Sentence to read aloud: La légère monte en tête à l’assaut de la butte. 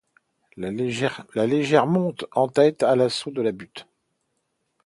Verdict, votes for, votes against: rejected, 0, 2